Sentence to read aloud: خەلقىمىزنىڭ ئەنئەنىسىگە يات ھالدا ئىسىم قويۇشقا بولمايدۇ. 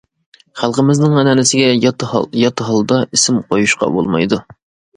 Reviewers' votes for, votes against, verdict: 1, 2, rejected